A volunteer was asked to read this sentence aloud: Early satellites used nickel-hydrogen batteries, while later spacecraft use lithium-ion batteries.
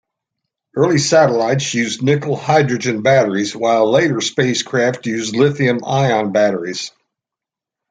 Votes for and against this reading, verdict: 2, 0, accepted